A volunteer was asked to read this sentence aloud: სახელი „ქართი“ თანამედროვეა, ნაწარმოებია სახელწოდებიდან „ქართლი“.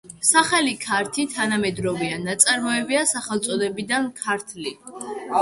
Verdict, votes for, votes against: rejected, 1, 2